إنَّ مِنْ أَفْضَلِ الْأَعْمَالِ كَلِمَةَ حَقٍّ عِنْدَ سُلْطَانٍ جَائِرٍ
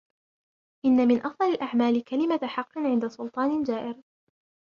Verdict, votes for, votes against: rejected, 1, 2